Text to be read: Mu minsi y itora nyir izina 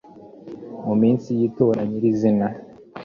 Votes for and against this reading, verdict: 2, 0, accepted